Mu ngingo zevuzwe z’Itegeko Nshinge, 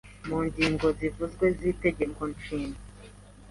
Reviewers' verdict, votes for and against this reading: accepted, 2, 0